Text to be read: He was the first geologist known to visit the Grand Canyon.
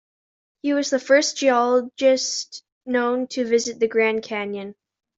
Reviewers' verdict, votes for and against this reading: accepted, 2, 0